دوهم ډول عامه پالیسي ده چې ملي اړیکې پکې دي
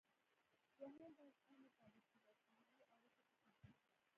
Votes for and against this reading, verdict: 0, 2, rejected